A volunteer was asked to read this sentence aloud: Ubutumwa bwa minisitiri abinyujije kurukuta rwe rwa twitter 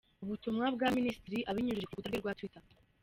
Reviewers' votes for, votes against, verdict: 2, 0, accepted